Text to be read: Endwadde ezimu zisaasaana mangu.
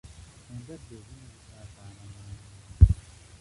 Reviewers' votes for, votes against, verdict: 0, 2, rejected